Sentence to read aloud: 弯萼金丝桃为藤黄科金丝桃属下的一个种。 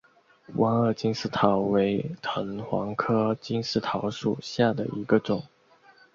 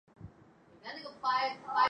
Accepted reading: first